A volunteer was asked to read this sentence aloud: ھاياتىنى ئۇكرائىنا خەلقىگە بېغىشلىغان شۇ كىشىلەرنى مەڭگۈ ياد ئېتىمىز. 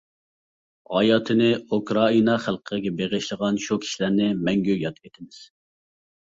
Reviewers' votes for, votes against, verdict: 2, 0, accepted